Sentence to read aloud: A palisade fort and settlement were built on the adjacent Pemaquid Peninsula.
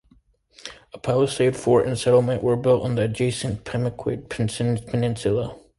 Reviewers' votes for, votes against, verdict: 2, 1, accepted